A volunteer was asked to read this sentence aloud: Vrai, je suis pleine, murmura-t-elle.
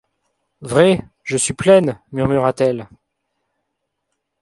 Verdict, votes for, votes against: accepted, 2, 0